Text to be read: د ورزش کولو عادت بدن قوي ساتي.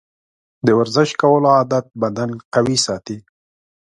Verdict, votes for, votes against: accepted, 6, 0